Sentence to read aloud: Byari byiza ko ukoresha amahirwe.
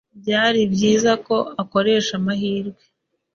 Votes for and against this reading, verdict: 2, 3, rejected